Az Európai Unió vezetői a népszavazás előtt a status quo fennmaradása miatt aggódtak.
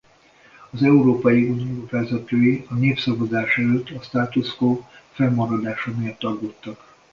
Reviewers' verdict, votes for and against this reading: rejected, 1, 2